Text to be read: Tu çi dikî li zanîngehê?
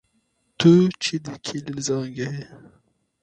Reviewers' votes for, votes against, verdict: 0, 2, rejected